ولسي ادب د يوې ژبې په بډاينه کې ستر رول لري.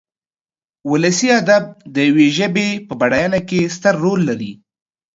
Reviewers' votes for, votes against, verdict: 2, 0, accepted